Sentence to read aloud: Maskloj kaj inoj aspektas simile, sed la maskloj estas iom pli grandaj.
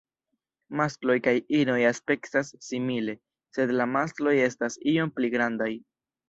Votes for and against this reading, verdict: 1, 2, rejected